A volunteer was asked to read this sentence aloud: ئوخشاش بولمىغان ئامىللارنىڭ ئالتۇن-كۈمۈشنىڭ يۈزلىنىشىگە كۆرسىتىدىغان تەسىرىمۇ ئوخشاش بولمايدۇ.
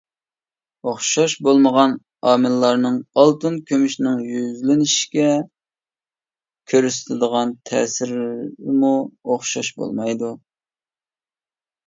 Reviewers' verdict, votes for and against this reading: rejected, 0, 2